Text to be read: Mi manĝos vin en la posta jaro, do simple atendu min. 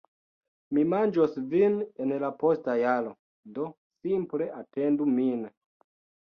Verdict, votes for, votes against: rejected, 0, 2